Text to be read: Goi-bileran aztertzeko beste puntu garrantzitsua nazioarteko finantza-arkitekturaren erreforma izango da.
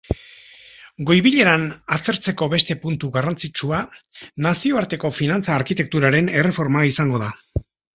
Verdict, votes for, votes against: accepted, 2, 0